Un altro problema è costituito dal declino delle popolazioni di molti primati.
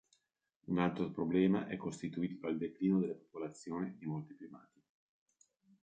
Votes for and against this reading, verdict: 1, 2, rejected